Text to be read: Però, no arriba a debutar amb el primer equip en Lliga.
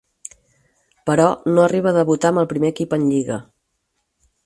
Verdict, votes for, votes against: accepted, 4, 0